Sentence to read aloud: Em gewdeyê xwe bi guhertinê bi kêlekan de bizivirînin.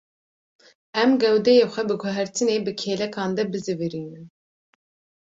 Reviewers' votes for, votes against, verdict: 2, 0, accepted